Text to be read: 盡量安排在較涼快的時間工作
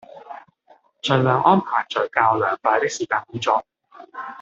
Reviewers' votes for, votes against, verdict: 1, 3, rejected